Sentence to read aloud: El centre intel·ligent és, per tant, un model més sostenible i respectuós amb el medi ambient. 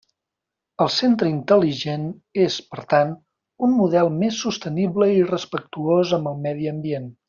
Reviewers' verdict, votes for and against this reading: accepted, 3, 0